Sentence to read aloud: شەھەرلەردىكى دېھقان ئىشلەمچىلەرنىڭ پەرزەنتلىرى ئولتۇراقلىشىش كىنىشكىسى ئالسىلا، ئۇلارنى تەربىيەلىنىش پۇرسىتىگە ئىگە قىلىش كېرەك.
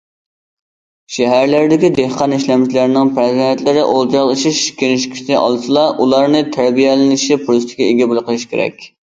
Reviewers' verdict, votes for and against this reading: rejected, 0, 2